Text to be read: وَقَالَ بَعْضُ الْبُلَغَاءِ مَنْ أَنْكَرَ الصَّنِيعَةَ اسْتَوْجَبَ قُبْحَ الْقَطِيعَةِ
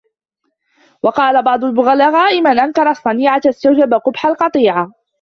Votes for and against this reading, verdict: 0, 2, rejected